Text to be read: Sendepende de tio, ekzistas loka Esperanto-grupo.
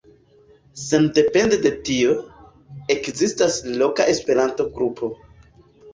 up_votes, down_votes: 2, 1